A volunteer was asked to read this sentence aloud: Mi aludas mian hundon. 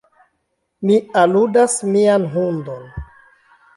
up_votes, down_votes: 2, 0